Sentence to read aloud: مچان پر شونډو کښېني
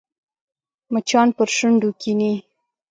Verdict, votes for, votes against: accepted, 2, 0